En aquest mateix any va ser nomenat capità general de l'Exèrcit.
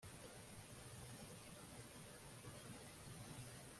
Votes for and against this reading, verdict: 0, 2, rejected